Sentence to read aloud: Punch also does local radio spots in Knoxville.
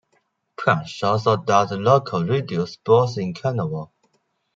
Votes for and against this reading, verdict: 0, 2, rejected